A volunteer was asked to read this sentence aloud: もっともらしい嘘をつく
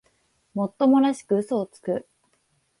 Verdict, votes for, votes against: rejected, 1, 2